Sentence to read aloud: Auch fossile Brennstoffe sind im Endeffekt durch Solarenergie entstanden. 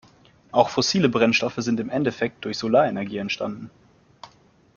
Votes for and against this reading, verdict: 2, 0, accepted